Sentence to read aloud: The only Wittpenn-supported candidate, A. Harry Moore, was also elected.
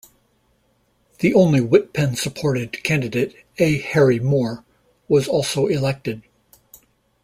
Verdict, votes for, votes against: accepted, 2, 0